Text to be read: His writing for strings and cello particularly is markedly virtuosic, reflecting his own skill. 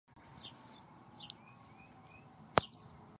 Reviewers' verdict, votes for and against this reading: rejected, 0, 2